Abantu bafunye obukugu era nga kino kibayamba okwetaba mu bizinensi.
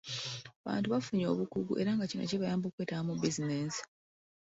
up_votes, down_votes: 1, 2